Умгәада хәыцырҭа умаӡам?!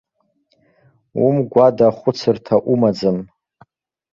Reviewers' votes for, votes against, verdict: 2, 0, accepted